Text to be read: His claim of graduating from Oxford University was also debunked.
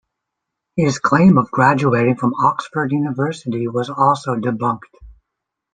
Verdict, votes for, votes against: accepted, 2, 0